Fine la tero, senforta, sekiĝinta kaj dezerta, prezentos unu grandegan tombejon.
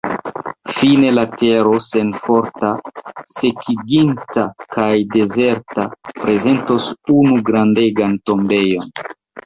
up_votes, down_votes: 0, 2